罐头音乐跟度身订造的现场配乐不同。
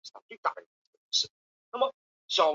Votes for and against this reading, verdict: 0, 4, rejected